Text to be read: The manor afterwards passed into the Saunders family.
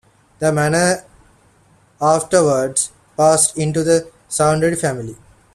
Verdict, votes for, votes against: accepted, 2, 0